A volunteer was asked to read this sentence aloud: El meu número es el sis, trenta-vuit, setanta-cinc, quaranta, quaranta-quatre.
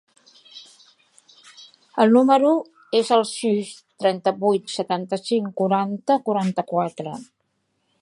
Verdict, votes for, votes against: rejected, 0, 2